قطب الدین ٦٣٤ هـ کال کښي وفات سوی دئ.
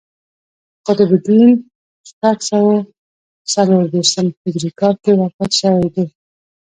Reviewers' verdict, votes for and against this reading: rejected, 0, 2